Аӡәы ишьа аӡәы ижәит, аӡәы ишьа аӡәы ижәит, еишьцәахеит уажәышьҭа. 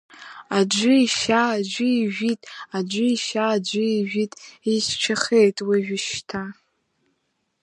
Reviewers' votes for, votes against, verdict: 4, 1, accepted